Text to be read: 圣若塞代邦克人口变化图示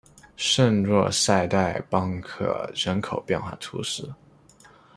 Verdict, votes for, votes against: accepted, 2, 1